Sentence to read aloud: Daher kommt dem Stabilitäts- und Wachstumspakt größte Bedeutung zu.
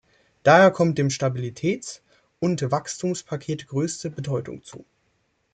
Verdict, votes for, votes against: rejected, 1, 2